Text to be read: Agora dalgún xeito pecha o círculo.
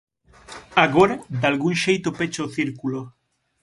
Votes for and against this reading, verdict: 6, 0, accepted